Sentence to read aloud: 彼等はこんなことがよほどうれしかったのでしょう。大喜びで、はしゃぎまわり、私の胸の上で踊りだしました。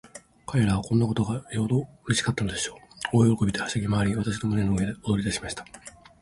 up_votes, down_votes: 5, 0